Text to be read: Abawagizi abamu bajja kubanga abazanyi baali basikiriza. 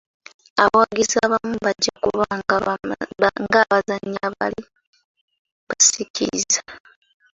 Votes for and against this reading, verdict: 0, 2, rejected